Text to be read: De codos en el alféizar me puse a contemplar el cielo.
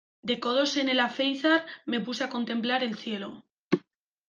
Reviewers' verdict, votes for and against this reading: accepted, 2, 0